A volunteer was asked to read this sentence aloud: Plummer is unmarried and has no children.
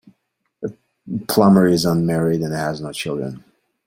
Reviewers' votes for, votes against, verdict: 2, 0, accepted